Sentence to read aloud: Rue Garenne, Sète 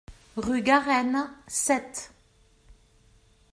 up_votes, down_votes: 2, 0